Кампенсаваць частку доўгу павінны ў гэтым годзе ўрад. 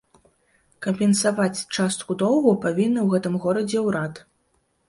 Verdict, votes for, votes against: accepted, 2, 0